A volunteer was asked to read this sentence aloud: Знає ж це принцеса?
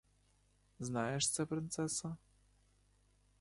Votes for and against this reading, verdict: 2, 0, accepted